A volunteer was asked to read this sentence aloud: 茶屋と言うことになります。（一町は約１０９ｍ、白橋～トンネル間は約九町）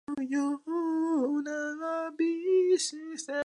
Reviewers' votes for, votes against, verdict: 0, 2, rejected